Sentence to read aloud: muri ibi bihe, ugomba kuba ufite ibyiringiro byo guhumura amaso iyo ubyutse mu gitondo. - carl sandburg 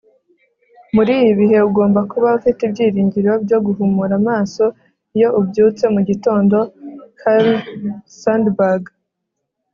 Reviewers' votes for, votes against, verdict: 4, 0, accepted